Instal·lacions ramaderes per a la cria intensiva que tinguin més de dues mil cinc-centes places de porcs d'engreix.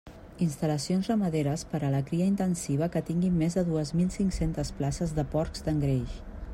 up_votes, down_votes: 2, 0